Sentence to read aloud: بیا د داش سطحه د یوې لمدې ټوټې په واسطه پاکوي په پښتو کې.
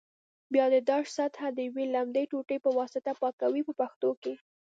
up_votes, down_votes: 2, 1